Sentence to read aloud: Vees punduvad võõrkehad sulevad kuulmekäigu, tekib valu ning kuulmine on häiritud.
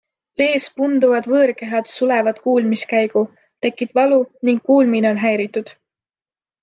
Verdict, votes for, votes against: rejected, 1, 2